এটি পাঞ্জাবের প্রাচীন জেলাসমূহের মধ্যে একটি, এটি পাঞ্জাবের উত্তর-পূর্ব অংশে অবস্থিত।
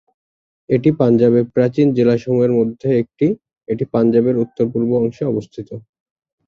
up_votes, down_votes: 2, 0